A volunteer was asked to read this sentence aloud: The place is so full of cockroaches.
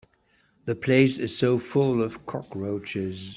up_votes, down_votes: 3, 0